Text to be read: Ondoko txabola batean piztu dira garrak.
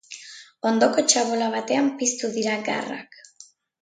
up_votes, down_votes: 2, 0